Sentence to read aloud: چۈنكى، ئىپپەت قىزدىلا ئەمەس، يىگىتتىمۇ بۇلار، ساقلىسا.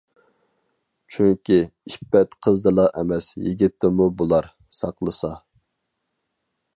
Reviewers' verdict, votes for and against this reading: accepted, 4, 0